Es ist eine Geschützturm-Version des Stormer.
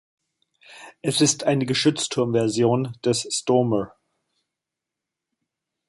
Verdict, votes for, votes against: accepted, 2, 0